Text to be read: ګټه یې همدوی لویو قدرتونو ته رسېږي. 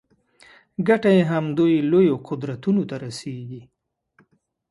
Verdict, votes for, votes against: accepted, 2, 0